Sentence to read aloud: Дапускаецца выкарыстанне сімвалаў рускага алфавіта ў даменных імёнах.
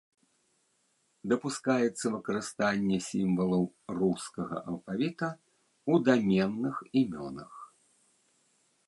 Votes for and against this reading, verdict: 1, 2, rejected